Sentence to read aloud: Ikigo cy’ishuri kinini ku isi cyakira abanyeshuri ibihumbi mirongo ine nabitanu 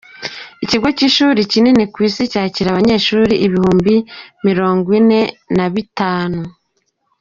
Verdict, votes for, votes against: accepted, 2, 0